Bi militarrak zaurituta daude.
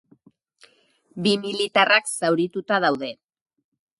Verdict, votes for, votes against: accepted, 2, 0